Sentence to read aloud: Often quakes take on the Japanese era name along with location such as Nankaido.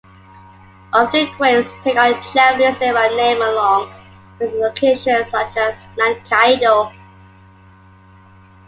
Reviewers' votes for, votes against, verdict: 1, 2, rejected